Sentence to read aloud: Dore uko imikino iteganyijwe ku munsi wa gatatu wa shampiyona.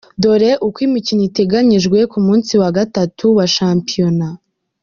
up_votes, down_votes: 2, 1